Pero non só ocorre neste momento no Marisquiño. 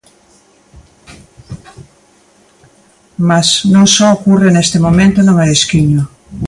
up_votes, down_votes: 0, 2